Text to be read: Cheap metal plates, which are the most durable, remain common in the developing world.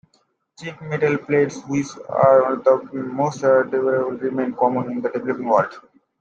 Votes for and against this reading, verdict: 2, 1, accepted